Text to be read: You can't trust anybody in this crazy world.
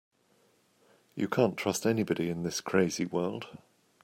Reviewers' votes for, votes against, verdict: 2, 0, accepted